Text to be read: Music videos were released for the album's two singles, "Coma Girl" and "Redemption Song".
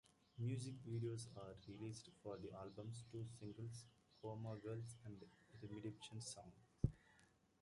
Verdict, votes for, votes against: rejected, 1, 2